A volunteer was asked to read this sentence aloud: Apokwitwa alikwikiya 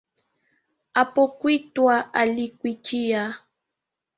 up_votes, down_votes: 3, 1